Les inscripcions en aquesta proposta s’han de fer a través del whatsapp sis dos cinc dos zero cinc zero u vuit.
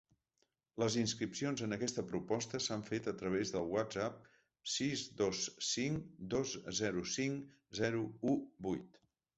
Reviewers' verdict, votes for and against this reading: rejected, 0, 3